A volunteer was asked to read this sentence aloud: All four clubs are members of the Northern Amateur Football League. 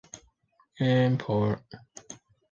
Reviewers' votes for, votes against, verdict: 0, 2, rejected